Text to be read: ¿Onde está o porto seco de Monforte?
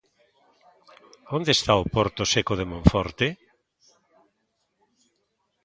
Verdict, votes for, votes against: accepted, 2, 0